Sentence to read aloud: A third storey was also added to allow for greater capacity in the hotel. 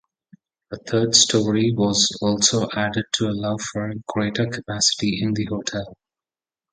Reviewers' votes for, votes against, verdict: 0, 2, rejected